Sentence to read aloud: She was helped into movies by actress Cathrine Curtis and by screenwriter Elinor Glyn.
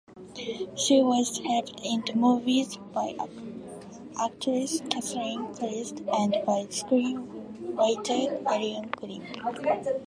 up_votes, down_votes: 0, 2